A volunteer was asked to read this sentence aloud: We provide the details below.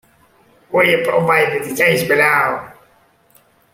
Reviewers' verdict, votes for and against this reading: rejected, 1, 2